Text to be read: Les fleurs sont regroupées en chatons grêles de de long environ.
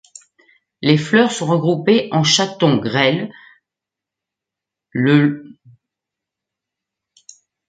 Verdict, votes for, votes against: rejected, 0, 2